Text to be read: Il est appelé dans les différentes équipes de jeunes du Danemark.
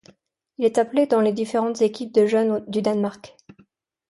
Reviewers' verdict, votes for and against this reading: accepted, 2, 0